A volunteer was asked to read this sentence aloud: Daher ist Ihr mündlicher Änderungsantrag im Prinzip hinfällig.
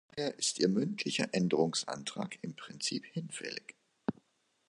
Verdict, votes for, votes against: rejected, 0, 2